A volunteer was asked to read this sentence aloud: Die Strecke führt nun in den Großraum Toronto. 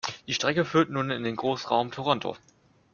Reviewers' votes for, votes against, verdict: 2, 0, accepted